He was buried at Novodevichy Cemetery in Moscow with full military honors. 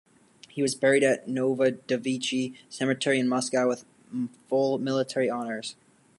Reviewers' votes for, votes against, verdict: 2, 1, accepted